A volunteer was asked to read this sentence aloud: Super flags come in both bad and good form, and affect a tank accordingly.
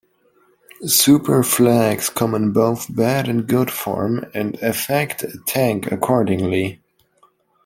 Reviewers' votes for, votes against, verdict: 2, 0, accepted